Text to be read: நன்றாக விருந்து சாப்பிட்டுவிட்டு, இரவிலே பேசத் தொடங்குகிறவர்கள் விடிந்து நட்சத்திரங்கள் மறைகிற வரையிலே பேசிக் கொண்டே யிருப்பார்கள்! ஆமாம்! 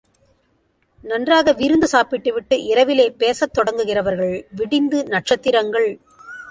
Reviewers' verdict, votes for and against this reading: rejected, 0, 2